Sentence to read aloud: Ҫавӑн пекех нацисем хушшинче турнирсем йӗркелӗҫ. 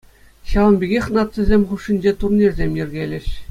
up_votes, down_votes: 2, 0